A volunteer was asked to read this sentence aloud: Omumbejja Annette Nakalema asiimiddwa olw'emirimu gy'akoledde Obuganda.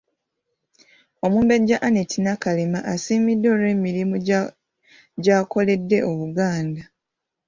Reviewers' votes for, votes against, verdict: 2, 0, accepted